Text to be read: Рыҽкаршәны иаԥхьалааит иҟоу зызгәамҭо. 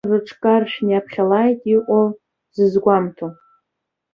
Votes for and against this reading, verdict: 2, 1, accepted